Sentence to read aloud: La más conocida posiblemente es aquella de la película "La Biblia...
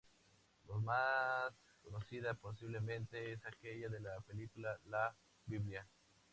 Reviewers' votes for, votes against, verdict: 2, 0, accepted